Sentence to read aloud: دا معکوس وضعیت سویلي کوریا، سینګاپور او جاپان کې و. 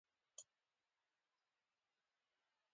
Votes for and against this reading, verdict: 1, 2, rejected